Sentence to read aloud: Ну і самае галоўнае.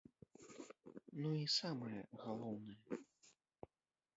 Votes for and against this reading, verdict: 1, 2, rejected